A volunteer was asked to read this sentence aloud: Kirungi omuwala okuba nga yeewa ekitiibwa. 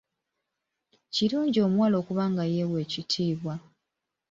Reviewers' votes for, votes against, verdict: 2, 1, accepted